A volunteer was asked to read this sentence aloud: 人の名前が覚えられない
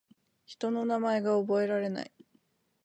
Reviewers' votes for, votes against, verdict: 2, 0, accepted